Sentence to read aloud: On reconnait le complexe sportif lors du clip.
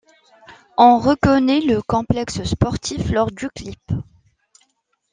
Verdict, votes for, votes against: accepted, 2, 0